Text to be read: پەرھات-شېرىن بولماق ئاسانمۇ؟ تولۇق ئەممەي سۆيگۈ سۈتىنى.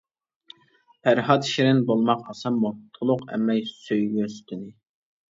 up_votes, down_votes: 1, 2